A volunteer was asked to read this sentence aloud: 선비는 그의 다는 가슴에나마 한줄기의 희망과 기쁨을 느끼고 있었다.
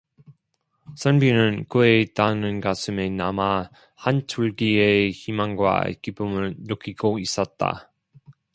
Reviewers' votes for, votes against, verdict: 1, 2, rejected